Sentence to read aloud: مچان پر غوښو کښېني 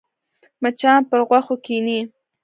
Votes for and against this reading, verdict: 1, 2, rejected